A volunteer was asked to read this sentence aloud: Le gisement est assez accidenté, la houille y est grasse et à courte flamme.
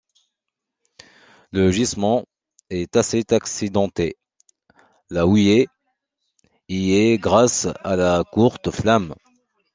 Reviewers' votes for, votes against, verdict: 0, 2, rejected